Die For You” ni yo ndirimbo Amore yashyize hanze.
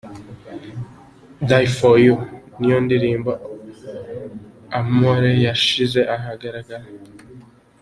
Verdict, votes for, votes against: rejected, 0, 2